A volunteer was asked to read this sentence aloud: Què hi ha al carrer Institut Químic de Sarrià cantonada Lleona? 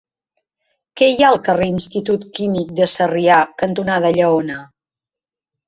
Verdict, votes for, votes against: accepted, 2, 0